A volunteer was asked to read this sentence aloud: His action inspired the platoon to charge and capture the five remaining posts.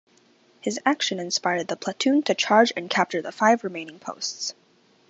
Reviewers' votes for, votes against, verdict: 2, 0, accepted